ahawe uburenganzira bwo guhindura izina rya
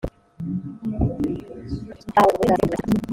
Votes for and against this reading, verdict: 1, 2, rejected